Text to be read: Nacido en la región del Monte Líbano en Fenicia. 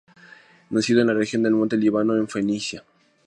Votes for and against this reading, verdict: 2, 0, accepted